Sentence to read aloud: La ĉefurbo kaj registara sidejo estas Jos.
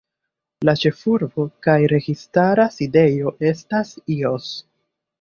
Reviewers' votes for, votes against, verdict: 1, 2, rejected